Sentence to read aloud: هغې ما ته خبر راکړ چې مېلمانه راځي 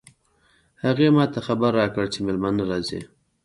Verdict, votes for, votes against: rejected, 0, 2